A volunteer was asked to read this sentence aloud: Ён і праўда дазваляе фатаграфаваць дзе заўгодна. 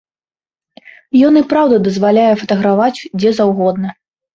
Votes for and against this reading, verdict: 0, 2, rejected